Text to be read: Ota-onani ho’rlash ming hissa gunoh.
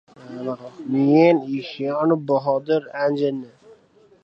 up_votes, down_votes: 0, 2